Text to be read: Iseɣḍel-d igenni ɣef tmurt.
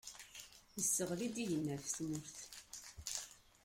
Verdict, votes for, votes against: rejected, 1, 2